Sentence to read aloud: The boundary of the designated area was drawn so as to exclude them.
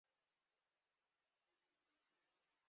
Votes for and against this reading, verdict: 0, 2, rejected